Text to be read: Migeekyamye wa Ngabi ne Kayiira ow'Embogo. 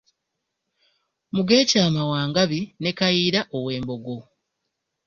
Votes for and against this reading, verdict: 2, 0, accepted